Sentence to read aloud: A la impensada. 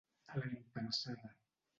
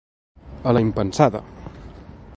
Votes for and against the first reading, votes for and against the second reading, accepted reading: 1, 2, 2, 0, second